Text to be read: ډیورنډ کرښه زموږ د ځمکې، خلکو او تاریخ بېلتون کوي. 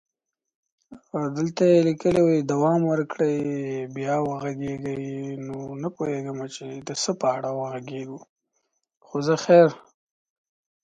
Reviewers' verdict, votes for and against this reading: rejected, 0, 2